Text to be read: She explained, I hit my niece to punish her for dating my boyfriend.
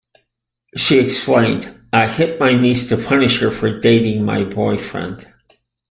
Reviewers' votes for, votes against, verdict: 2, 0, accepted